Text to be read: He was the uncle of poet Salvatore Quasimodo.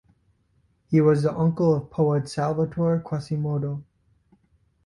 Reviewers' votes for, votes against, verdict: 2, 0, accepted